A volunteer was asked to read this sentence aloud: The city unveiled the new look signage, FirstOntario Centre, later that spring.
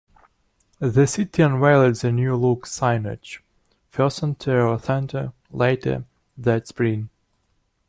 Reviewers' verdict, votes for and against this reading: accepted, 2, 1